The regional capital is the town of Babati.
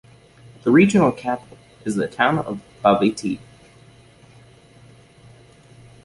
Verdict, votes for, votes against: rejected, 1, 2